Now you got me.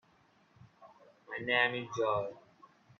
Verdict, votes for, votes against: rejected, 0, 2